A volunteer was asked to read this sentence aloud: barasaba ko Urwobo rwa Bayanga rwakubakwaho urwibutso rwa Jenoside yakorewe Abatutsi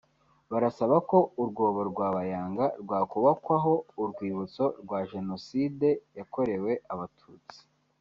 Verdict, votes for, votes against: rejected, 0, 2